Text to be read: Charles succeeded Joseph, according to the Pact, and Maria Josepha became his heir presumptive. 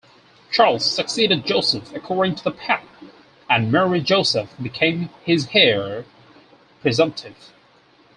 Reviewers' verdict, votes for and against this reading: rejected, 2, 4